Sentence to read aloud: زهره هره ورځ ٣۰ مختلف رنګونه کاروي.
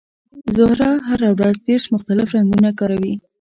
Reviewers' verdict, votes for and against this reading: rejected, 0, 2